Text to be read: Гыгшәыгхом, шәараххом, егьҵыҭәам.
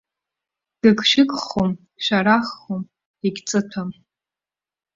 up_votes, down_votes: 2, 0